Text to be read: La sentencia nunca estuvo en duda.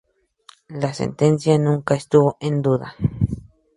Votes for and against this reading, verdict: 2, 0, accepted